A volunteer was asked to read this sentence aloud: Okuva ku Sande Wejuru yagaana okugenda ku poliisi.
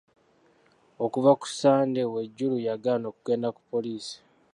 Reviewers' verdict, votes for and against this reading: accepted, 2, 0